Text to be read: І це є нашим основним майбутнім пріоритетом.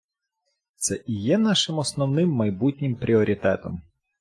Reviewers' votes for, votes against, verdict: 0, 2, rejected